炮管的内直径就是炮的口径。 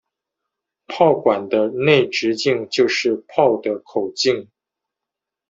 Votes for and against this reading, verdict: 2, 0, accepted